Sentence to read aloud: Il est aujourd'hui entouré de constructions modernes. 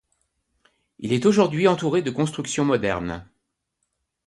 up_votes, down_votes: 2, 0